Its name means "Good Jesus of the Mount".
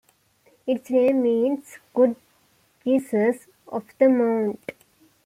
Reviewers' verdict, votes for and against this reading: accepted, 2, 1